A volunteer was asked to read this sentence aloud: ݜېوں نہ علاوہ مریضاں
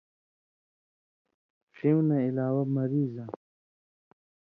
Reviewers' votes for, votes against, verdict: 2, 0, accepted